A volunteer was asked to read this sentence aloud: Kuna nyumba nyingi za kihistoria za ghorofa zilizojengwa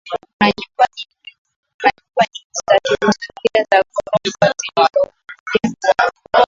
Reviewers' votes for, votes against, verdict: 0, 2, rejected